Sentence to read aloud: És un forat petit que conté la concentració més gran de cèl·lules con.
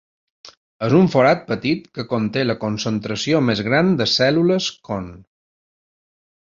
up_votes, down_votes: 2, 0